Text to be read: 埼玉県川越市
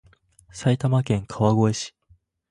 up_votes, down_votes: 0, 2